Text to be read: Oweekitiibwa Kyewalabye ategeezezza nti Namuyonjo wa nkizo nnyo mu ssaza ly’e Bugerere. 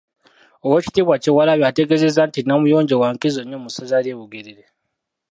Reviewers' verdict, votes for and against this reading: accepted, 2, 1